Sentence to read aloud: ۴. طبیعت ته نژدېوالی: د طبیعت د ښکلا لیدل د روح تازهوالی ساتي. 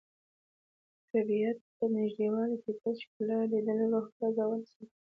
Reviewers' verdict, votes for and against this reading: rejected, 0, 2